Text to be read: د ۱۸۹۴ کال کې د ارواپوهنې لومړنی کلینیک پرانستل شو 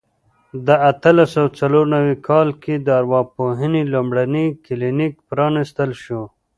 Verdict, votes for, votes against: rejected, 0, 2